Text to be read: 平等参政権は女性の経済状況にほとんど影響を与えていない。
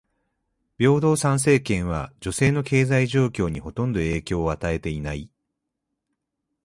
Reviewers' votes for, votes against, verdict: 2, 0, accepted